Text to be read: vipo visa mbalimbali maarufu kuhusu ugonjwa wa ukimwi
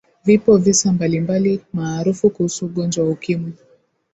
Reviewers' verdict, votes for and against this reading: accepted, 3, 0